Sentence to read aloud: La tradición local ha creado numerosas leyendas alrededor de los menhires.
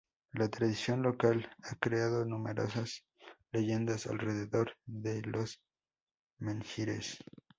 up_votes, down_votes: 0, 2